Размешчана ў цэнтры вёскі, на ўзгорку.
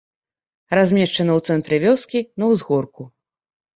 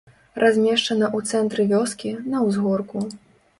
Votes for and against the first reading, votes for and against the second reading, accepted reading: 2, 0, 0, 2, first